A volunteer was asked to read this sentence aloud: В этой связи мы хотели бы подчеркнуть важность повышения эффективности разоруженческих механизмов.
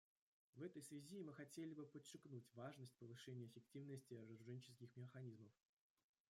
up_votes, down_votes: 0, 2